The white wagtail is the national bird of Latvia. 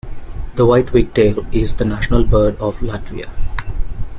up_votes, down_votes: 1, 2